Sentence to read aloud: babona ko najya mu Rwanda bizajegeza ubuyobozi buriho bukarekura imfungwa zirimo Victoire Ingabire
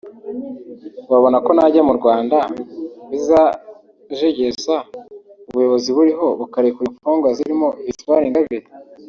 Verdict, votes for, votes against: accepted, 2, 0